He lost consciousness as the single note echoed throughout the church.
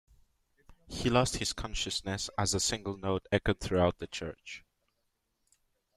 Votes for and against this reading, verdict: 0, 2, rejected